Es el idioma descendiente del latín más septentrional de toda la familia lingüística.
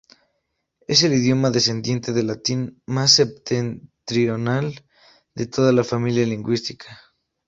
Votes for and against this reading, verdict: 2, 0, accepted